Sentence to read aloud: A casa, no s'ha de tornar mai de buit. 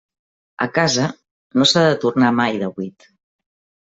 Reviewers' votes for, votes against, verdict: 3, 0, accepted